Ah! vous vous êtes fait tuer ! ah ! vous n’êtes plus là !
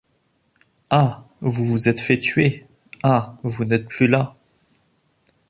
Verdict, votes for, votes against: accepted, 3, 0